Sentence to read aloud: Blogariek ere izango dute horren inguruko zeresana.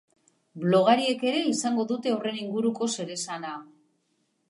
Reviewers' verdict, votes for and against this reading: accepted, 2, 0